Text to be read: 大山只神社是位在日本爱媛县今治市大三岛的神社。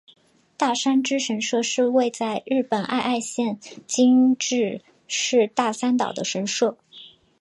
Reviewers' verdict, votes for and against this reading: rejected, 0, 2